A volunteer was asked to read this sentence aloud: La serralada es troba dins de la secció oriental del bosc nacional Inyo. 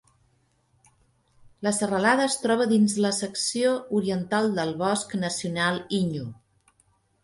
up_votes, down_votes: 0, 2